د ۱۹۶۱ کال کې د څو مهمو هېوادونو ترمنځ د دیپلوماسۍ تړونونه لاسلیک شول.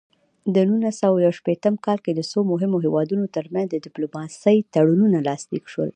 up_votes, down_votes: 0, 2